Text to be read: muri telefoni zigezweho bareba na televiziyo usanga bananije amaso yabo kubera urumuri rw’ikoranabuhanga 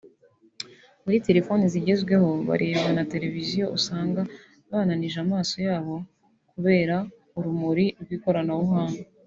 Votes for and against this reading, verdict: 2, 1, accepted